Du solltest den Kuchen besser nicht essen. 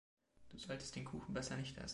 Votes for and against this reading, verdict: 2, 1, accepted